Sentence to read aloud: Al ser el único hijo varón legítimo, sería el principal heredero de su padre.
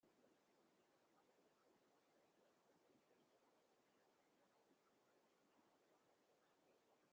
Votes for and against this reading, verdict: 0, 2, rejected